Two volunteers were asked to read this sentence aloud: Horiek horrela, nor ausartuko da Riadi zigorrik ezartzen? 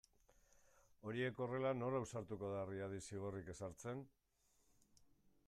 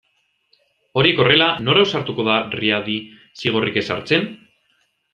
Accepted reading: second